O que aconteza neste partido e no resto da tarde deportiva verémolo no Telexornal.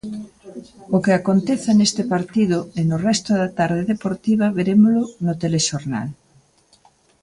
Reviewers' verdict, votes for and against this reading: accepted, 2, 0